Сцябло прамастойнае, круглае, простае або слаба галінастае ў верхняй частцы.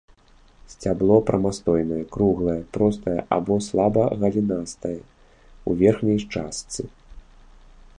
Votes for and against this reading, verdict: 2, 0, accepted